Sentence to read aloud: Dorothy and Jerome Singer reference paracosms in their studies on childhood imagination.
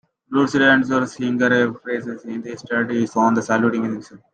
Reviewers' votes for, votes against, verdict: 0, 2, rejected